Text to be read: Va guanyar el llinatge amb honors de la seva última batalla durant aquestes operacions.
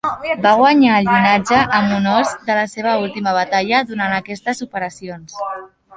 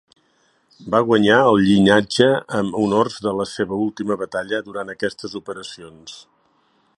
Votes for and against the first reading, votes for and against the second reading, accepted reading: 0, 2, 2, 0, second